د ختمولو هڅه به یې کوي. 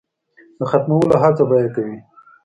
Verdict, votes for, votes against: accepted, 2, 0